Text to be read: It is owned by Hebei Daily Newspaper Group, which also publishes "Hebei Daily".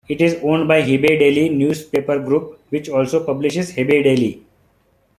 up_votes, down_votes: 2, 0